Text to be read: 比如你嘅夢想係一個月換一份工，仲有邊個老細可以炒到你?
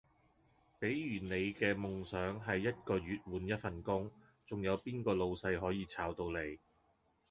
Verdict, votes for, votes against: rejected, 1, 2